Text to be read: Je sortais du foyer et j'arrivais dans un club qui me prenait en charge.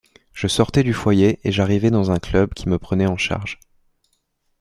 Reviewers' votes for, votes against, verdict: 2, 0, accepted